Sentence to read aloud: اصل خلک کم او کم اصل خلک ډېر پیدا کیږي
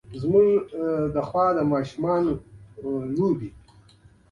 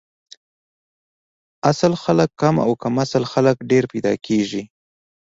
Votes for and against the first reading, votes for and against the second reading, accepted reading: 1, 2, 2, 0, second